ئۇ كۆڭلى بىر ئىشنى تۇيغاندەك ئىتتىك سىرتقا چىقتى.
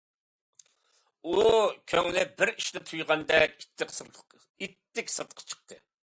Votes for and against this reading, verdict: 2, 0, accepted